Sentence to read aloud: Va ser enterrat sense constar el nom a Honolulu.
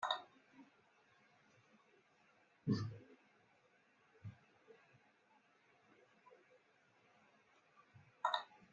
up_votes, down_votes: 0, 2